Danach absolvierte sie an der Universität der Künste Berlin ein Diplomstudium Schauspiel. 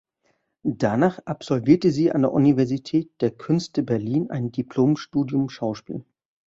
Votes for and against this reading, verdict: 2, 0, accepted